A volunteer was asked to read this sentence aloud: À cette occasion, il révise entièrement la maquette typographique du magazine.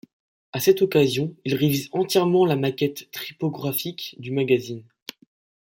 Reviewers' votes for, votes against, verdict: 1, 2, rejected